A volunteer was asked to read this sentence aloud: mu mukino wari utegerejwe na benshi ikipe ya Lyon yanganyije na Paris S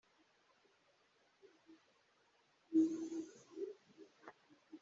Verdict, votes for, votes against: rejected, 1, 2